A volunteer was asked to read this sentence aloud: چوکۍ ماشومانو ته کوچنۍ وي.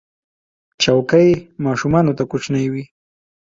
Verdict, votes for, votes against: accepted, 2, 0